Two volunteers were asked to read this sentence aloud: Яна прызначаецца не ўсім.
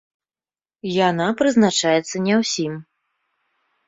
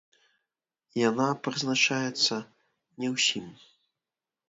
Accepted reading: first